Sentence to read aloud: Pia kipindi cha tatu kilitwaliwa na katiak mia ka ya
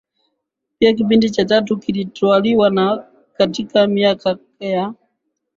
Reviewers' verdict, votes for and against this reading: rejected, 0, 2